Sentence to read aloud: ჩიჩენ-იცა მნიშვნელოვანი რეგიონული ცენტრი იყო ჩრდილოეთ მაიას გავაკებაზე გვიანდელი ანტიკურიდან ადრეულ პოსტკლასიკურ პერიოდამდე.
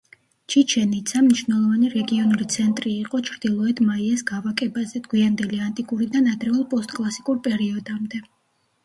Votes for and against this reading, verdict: 2, 0, accepted